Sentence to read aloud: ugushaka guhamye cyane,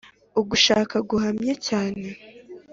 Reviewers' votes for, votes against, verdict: 2, 0, accepted